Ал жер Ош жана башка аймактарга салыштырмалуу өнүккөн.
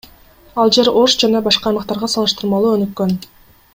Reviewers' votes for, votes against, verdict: 1, 2, rejected